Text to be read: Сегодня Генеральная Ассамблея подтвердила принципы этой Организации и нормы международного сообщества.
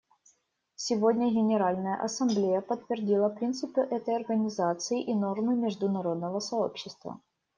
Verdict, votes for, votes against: rejected, 0, 2